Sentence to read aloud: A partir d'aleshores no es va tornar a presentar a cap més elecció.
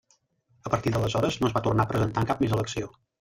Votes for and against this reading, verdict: 1, 2, rejected